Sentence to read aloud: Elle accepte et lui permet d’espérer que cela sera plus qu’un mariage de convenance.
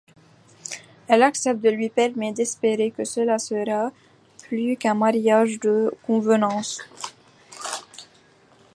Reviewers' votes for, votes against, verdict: 1, 2, rejected